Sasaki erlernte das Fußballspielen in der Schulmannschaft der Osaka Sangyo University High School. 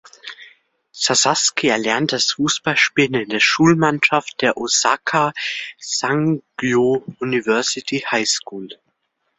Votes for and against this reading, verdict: 2, 1, accepted